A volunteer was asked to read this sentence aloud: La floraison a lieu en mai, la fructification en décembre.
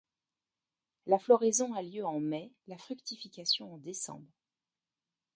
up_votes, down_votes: 0, 2